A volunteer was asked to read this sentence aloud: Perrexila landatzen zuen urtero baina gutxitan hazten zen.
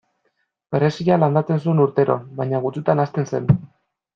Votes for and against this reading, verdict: 0, 2, rejected